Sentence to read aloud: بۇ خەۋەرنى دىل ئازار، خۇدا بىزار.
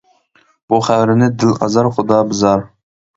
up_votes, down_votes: 2, 1